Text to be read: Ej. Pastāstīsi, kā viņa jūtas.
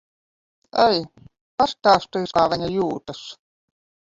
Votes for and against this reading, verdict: 1, 2, rejected